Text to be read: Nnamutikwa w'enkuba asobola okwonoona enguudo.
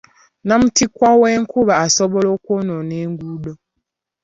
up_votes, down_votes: 2, 1